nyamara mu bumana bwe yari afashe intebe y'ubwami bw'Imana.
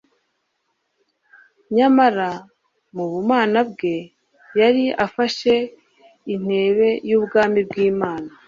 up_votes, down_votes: 2, 0